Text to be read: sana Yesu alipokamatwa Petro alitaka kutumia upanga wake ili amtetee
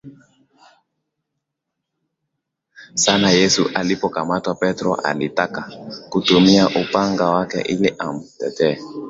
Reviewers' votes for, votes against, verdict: 2, 0, accepted